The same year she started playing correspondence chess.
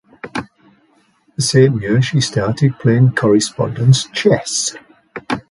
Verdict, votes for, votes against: accepted, 2, 0